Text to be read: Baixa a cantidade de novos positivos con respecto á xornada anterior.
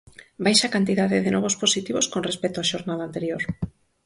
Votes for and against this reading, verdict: 4, 0, accepted